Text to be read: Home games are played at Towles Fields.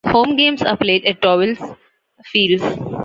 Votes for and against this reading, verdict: 2, 1, accepted